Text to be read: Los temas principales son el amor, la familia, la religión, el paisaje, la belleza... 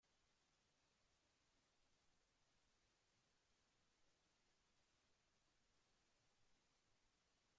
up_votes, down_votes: 0, 2